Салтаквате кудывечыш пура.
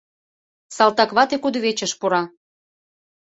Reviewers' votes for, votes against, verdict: 2, 0, accepted